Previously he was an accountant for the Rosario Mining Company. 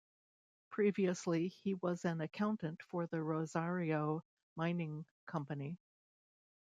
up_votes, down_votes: 2, 0